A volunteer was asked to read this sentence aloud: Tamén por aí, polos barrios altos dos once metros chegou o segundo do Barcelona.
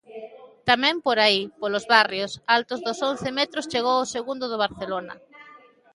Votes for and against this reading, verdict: 2, 0, accepted